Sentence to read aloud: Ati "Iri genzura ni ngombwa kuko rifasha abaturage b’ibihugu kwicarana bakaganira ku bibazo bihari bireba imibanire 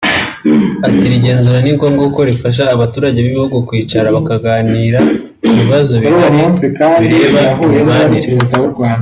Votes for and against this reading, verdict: 1, 2, rejected